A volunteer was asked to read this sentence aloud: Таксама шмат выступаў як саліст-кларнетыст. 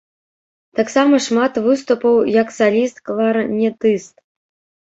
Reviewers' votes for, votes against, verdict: 1, 3, rejected